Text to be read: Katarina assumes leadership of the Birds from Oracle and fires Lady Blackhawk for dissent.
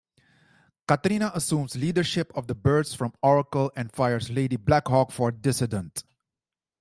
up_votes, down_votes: 0, 2